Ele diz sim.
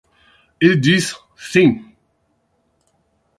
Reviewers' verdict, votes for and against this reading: rejected, 4, 8